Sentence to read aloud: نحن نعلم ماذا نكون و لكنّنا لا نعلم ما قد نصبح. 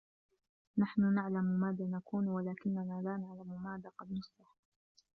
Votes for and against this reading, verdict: 1, 2, rejected